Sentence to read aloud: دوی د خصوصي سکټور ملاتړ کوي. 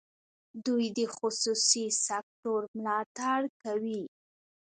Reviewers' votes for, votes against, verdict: 1, 2, rejected